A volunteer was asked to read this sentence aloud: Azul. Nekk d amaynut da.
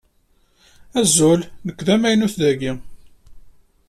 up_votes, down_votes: 1, 2